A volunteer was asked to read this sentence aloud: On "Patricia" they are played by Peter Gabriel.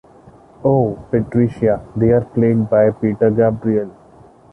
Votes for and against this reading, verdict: 1, 2, rejected